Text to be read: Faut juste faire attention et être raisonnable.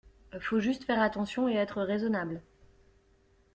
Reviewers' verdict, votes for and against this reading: accepted, 2, 0